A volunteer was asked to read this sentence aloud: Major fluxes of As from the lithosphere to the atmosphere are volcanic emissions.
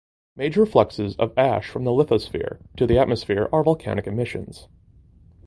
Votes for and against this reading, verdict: 0, 2, rejected